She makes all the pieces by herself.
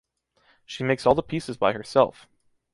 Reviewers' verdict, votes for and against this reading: accepted, 2, 0